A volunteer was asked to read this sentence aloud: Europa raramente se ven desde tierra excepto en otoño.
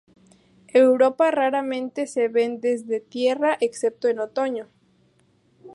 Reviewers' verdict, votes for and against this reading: rejected, 0, 2